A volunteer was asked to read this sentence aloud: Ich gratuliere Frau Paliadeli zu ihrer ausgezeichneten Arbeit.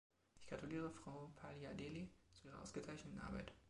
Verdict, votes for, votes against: rejected, 2, 3